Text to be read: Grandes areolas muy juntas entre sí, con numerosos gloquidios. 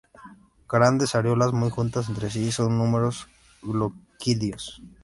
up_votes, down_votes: 0, 2